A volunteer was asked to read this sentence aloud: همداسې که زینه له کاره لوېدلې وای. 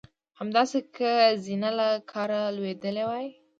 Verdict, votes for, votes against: accepted, 2, 0